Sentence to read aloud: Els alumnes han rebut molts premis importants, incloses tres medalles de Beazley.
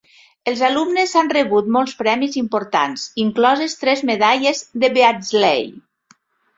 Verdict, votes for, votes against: rejected, 2, 3